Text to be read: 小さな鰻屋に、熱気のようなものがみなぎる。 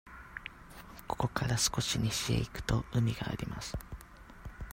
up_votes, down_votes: 0, 2